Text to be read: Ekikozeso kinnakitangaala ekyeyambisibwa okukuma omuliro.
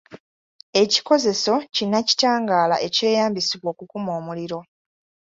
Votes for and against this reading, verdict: 2, 0, accepted